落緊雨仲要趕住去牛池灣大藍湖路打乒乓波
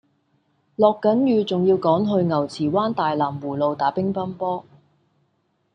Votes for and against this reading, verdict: 1, 2, rejected